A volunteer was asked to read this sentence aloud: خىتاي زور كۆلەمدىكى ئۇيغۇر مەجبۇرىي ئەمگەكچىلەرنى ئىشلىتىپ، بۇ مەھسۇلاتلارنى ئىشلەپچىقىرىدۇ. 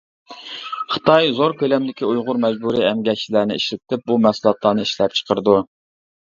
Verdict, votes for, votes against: accepted, 2, 0